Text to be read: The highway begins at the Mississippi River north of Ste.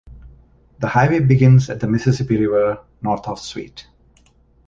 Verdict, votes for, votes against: rejected, 1, 2